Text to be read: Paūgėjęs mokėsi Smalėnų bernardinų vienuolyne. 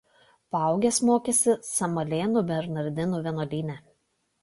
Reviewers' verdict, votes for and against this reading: rejected, 0, 2